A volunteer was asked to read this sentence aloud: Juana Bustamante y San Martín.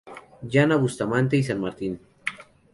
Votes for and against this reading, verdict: 2, 2, rejected